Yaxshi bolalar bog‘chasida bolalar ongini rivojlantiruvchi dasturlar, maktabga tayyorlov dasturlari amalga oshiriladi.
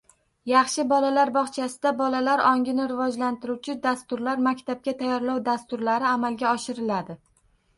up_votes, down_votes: 1, 2